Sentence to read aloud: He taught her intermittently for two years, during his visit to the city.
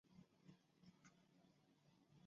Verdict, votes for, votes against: rejected, 1, 2